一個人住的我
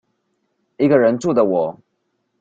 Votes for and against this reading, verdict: 2, 0, accepted